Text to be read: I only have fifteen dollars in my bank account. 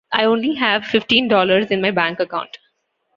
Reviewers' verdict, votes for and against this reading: accepted, 2, 0